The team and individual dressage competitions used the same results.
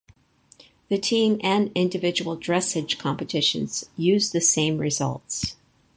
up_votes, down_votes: 4, 2